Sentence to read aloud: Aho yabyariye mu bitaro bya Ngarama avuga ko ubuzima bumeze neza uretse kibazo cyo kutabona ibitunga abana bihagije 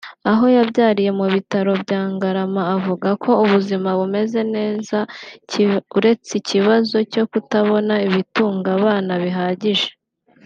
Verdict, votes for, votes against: rejected, 1, 2